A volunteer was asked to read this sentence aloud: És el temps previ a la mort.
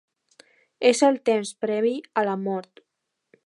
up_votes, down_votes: 2, 0